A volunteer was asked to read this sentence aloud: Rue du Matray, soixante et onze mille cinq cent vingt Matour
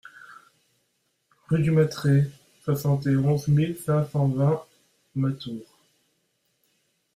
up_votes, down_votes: 2, 0